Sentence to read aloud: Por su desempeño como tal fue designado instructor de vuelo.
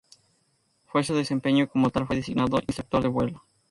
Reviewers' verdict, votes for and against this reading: accepted, 2, 0